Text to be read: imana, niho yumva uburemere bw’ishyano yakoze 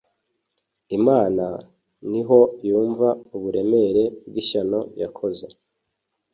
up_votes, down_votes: 2, 0